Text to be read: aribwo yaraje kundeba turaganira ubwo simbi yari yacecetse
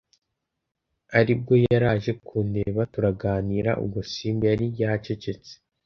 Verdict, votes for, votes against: accepted, 2, 0